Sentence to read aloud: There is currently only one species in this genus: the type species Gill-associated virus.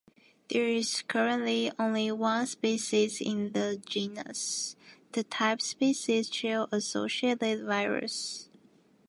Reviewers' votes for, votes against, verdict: 0, 2, rejected